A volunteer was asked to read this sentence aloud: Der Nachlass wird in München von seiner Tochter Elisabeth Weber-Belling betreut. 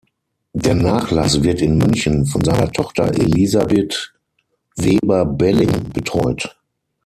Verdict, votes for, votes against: accepted, 6, 0